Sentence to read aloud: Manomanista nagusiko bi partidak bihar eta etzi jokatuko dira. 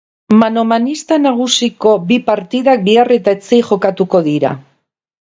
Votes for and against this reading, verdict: 2, 0, accepted